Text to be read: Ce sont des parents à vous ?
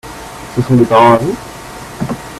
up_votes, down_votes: 0, 2